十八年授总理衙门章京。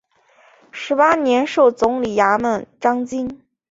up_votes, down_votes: 2, 0